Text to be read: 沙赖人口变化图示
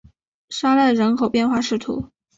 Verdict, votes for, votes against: rejected, 1, 5